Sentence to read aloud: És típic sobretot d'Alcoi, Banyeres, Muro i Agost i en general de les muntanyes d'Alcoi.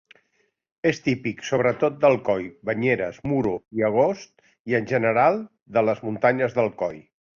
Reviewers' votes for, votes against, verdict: 2, 0, accepted